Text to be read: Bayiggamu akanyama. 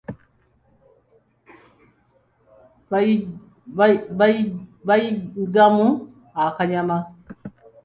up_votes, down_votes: 1, 2